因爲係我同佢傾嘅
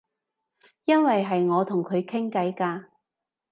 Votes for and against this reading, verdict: 0, 2, rejected